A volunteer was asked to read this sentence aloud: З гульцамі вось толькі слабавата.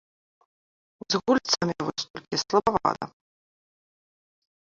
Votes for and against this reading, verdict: 1, 2, rejected